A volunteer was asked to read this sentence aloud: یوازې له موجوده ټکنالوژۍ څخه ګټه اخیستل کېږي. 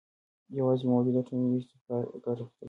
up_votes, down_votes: 0, 2